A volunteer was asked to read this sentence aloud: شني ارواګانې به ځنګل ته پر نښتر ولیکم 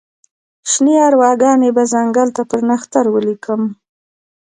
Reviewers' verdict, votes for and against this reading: accepted, 2, 0